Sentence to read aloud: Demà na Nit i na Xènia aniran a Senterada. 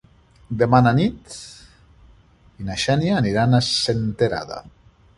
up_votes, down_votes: 1, 2